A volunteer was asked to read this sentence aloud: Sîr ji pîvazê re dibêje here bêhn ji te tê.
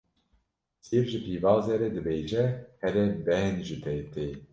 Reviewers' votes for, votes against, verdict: 1, 2, rejected